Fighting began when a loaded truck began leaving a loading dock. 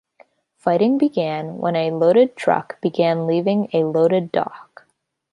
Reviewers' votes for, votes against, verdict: 0, 3, rejected